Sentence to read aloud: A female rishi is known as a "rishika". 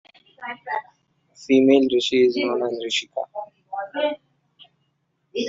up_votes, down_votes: 0, 2